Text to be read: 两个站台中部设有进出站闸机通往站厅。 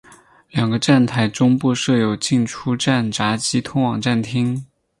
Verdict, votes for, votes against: accepted, 4, 2